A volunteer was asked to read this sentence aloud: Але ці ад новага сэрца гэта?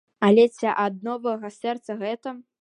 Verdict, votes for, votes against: accepted, 2, 0